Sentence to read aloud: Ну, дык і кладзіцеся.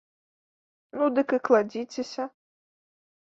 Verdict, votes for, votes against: accepted, 2, 0